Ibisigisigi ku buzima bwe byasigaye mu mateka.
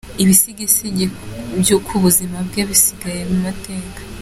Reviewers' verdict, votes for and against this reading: rejected, 1, 3